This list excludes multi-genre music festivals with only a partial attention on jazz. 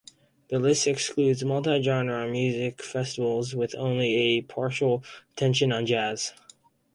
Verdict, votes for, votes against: accepted, 2, 0